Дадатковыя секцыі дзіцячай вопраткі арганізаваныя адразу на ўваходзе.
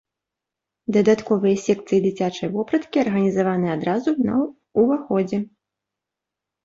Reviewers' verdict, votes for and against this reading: accepted, 2, 0